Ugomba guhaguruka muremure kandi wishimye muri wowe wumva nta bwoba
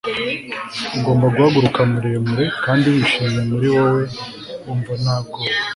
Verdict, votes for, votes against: accepted, 2, 0